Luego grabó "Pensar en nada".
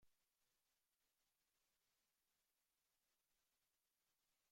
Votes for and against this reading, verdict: 0, 2, rejected